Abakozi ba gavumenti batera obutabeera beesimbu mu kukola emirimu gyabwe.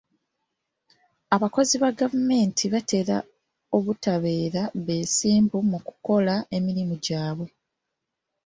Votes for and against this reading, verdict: 2, 0, accepted